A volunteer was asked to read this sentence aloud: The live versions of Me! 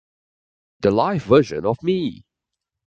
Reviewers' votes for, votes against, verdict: 3, 0, accepted